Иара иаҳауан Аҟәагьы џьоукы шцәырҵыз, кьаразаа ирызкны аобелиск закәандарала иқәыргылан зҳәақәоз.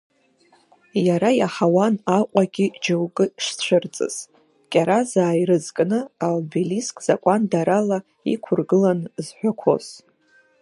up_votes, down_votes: 2, 0